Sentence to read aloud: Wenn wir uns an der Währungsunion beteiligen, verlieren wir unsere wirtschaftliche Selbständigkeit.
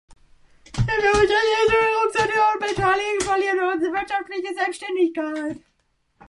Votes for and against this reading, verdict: 0, 2, rejected